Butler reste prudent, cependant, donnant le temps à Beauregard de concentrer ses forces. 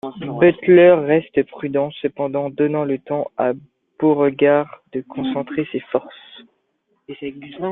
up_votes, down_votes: 1, 2